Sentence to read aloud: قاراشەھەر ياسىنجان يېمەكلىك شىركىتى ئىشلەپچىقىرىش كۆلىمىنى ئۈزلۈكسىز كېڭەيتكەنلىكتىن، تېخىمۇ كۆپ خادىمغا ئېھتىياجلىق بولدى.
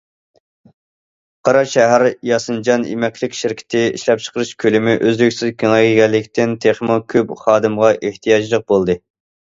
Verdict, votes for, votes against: rejected, 0, 2